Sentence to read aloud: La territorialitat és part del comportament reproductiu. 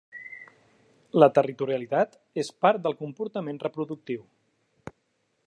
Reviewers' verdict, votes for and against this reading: accepted, 3, 0